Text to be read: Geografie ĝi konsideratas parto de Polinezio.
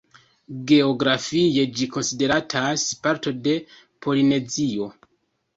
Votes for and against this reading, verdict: 1, 2, rejected